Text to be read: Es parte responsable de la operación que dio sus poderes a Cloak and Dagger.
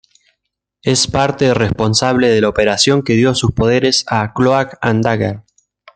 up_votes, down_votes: 2, 0